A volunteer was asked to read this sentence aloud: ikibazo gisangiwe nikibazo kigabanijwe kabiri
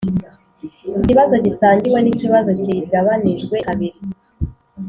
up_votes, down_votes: 2, 0